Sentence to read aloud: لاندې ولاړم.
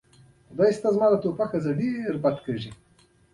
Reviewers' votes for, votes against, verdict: 0, 2, rejected